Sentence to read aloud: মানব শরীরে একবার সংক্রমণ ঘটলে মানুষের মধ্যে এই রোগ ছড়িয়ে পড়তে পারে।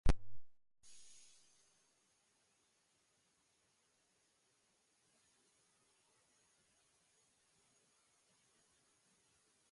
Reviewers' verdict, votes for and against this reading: rejected, 1, 9